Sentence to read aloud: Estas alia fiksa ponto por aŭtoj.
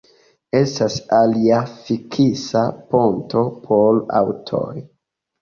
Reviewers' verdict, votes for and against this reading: accepted, 2, 0